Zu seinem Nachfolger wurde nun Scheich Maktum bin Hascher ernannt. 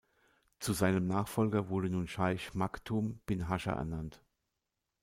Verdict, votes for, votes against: accepted, 2, 0